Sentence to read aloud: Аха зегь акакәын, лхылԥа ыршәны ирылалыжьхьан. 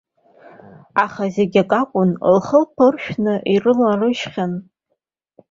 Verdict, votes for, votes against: accepted, 2, 0